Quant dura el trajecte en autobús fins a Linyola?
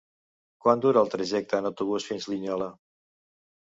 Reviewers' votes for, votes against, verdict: 0, 2, rejected